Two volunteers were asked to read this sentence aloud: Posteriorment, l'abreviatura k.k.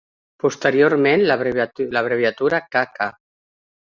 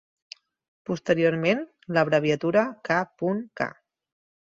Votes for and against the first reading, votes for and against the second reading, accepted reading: 0, 2, 4, 0, second